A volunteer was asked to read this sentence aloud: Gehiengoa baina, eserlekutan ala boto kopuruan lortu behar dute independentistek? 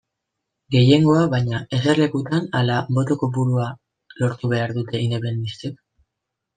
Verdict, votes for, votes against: rejected, 0, 2